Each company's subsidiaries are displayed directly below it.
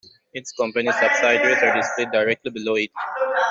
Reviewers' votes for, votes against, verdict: 0, 2, rejected